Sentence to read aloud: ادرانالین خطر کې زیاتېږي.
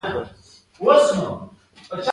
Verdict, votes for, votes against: accepted, 2, 1